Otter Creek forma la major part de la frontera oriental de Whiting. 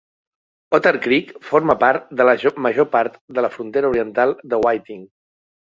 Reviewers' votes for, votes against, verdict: 0, 2, rejected